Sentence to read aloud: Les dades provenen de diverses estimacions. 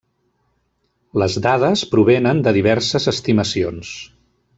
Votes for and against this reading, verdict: 3, 0, accepted